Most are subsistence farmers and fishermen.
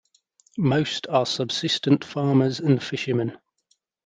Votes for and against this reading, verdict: 0, 2, rejected